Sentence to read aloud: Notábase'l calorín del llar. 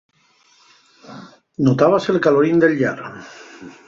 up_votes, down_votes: 4, 0